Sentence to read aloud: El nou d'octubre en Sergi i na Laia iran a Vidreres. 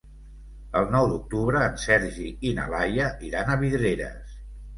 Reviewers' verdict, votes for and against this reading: accepted, 2, 0